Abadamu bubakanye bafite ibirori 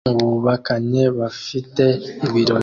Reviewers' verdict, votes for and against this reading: rejected, 0, 2